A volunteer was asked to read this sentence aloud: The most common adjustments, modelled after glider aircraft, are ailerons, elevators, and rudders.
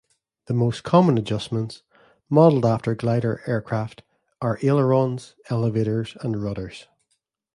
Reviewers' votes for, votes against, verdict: 2, 1, accepted